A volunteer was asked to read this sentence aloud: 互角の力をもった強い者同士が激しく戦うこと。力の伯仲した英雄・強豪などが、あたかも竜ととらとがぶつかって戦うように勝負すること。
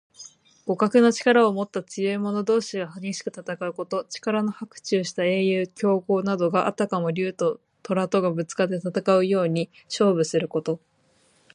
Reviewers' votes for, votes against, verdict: 4, 2, accepted